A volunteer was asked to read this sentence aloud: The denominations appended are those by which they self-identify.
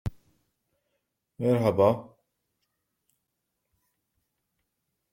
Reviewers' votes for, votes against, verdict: 0, 2, rejected